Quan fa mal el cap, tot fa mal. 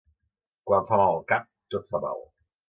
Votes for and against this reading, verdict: 2, 0, accepted